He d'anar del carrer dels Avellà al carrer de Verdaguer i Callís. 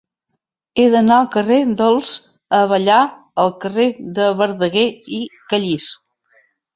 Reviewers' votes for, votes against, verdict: 1, 2, rejected